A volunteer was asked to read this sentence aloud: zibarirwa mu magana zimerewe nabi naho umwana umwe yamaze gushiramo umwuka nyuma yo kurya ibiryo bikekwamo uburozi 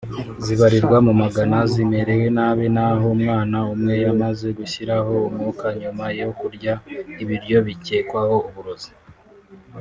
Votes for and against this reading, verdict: 1, 2, rejected